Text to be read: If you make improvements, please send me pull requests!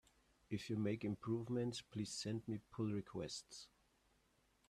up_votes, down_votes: 2, 0